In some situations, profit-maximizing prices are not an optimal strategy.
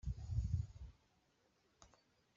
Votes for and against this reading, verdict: 0, 2, rejected